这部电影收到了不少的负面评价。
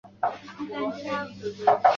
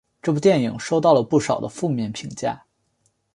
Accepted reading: second